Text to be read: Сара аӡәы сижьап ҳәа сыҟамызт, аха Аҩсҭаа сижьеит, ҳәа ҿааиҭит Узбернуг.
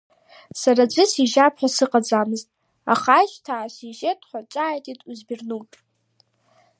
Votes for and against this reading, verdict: 0, 2, rejected